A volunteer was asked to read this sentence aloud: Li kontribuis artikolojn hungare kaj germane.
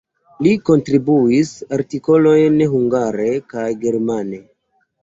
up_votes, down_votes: 2, 0